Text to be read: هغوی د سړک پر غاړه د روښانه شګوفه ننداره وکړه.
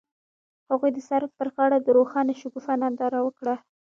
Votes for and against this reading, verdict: 1, 2, rejected